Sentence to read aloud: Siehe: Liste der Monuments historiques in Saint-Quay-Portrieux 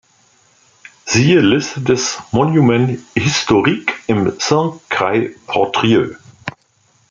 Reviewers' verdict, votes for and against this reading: rejected, 1, 2